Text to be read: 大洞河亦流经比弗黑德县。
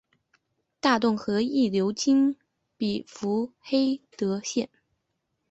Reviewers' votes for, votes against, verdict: 5, 0, accepted